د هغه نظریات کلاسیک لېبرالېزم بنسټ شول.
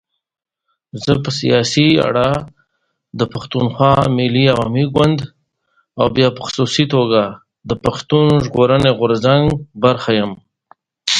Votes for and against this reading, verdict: 1, 2, rejected